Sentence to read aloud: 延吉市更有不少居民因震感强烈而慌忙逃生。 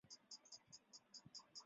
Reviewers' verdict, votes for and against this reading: rejected, 0, 3